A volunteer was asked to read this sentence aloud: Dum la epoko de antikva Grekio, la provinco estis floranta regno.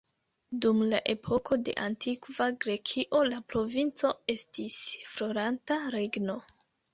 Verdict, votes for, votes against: rejected, 0, 2